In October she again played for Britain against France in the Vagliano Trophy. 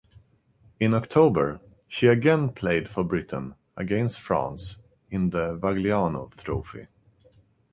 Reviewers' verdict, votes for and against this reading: accepted, 3, 0